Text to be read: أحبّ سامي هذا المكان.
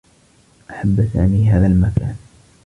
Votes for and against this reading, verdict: 2, 1, accepted